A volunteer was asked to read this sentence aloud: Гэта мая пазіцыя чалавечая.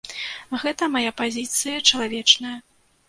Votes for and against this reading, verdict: 0, 2, rejected